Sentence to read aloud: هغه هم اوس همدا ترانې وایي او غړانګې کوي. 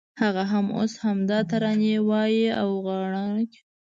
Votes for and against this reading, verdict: 1, 2, rejected